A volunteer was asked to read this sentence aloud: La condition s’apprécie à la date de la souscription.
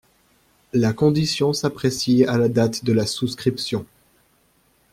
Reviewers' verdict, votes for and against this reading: accepted, 2, 0